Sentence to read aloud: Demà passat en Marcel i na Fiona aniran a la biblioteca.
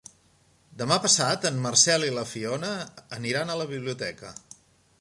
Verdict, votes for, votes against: rejected, 1, 2